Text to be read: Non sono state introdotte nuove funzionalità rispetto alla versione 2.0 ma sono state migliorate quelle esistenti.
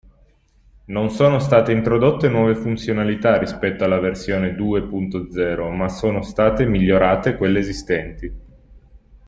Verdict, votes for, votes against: rejected, 0, 2